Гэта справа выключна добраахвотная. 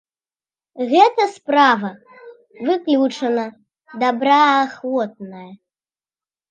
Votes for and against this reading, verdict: 1, 2, rejected